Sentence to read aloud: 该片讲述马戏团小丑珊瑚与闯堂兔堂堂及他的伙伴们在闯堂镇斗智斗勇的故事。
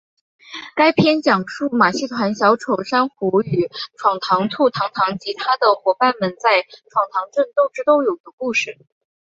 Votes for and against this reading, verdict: 2, 0, accepted